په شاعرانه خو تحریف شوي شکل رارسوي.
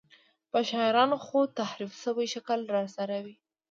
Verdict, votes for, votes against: rejected, 1, 2